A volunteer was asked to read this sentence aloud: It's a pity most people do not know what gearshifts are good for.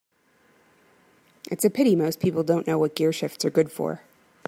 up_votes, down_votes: 1, 2